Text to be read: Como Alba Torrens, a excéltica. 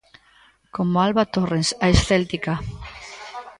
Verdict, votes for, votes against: rejected, 0, 2